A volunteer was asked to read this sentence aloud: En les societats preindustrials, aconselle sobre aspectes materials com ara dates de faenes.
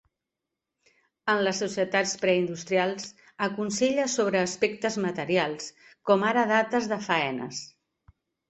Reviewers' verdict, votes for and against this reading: accepted, 2, 0